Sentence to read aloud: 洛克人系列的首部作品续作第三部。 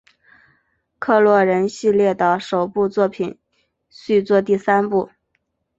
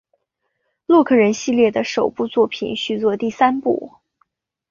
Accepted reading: second